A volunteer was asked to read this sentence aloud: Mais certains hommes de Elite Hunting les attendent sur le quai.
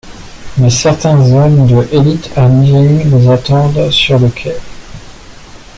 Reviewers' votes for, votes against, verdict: 0, 2, rejected